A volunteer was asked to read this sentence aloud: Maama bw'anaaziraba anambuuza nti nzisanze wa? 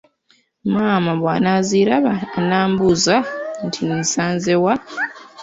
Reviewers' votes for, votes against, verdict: 2, 1, accepted